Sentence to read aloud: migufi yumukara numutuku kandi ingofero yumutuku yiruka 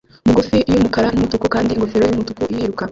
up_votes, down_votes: 0, 2